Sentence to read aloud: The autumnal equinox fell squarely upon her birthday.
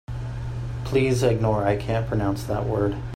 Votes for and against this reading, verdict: 0, 3, rejected